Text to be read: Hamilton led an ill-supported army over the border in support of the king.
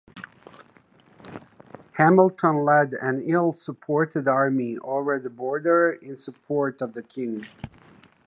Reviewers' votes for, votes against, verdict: 2, 0, accepted